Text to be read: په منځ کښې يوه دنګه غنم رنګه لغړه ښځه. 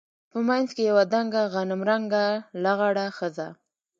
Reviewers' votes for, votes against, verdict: 2, 1, accepted